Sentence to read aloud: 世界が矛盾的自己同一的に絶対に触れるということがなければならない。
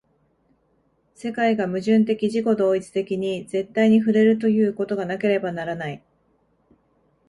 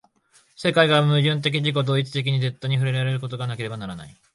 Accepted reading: first